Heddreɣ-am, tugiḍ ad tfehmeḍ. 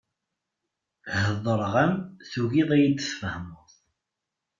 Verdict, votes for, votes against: rejected, 1, 2